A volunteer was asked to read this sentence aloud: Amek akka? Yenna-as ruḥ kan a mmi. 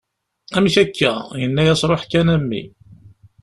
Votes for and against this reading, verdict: 2, 0, accepted